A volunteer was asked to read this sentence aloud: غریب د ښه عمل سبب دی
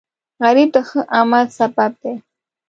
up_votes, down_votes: 1, 2